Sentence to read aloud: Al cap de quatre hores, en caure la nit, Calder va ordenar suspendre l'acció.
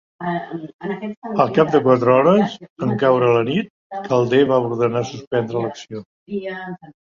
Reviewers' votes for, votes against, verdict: 0, 2, rejected